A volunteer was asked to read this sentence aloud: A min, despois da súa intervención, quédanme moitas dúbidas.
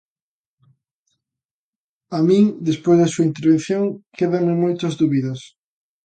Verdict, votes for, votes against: accepted, 2, 0